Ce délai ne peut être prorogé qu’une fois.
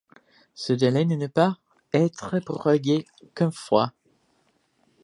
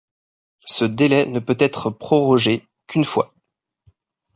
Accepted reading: second